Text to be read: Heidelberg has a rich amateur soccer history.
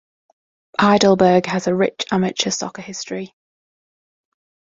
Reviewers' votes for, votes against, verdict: 2, 0, accepted